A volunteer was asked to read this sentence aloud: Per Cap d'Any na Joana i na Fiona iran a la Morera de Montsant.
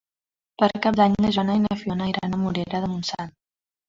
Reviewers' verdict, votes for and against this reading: rejected, 2, 3